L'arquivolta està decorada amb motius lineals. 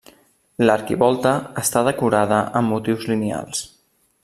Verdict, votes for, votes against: accepted, 3, 0